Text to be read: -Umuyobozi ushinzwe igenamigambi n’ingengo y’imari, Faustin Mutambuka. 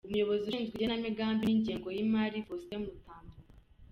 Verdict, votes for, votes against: accepted, 2, 0